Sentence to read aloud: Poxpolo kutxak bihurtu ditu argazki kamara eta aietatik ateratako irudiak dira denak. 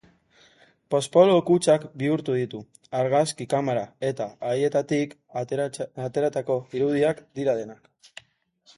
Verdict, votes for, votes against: rejected, 0, 2